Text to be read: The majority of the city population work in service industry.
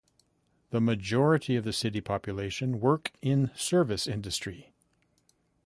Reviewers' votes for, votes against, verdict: 2, 0, accepted